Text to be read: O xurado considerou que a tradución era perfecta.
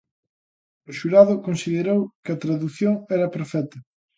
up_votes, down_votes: 2, 0